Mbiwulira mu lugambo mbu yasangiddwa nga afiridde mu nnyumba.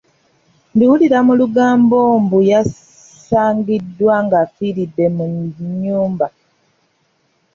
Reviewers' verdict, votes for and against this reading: rejected, 0, 2